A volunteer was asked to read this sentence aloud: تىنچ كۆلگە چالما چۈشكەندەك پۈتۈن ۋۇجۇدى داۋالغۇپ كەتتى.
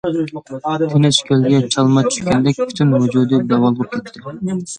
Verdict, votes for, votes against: rejected, 1, 2